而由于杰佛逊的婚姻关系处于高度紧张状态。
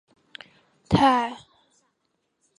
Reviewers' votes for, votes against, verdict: 0, 3, rejected